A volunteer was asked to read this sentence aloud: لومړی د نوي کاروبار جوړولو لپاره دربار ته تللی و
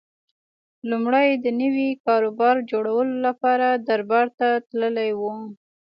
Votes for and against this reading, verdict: 2, 1, accepted